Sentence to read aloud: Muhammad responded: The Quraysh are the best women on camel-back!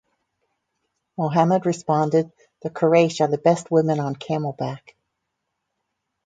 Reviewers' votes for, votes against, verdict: 4, 0, accepted